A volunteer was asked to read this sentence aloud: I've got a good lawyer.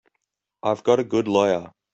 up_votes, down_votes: 2, 0